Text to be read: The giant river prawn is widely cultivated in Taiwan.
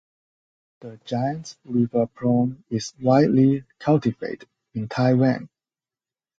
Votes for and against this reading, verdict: 2, 4, rejected